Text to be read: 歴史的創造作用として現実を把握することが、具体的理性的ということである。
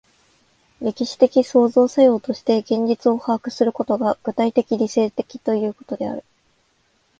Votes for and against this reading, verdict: 2, 0, accepted